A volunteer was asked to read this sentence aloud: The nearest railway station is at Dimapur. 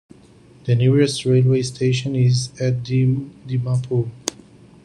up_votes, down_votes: 0, 2